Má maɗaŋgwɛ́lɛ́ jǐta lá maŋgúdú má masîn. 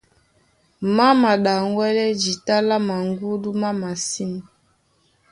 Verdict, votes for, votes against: accepted, 2, 0